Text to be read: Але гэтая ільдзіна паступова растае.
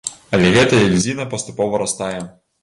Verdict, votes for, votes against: rejected, 1, 2